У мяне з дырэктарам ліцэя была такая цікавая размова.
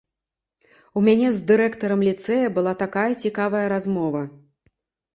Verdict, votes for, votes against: accepted, 2, 0